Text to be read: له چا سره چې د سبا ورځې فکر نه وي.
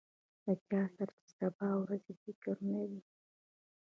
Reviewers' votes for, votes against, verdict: 1, 2, rejected